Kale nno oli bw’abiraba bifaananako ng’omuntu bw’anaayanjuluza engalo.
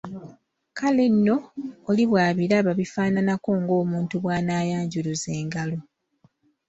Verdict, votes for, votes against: accepted, 2, 0